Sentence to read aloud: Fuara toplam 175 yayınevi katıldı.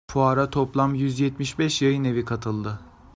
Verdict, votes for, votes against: rejected, 0, 2